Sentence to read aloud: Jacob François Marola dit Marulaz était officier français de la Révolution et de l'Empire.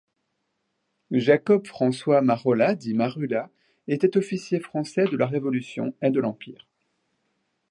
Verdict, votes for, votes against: accepted, 2, 0